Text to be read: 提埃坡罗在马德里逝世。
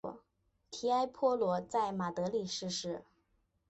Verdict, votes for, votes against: accepted, 3, 0